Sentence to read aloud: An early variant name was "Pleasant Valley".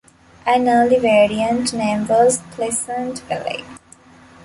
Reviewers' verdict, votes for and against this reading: accepted, 2, 0